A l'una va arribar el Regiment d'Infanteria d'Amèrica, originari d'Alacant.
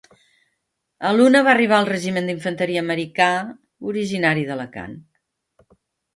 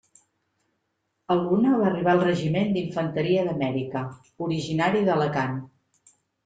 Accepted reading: second